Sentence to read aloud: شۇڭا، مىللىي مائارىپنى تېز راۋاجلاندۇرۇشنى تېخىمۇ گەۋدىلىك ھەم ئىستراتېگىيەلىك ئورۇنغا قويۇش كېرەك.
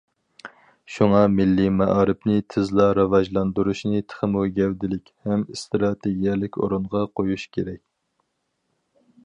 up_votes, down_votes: 0, 4